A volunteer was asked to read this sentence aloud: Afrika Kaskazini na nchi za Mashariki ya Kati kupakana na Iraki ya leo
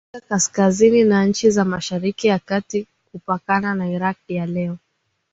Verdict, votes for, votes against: accepted, 2, 1